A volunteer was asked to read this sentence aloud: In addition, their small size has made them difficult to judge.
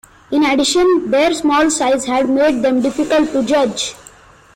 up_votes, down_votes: 2, 1